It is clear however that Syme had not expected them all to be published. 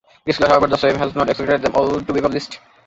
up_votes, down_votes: 0, 2